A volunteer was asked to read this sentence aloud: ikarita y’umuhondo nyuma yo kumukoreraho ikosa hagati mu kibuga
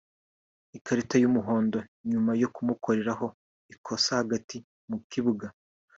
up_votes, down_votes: 2, 0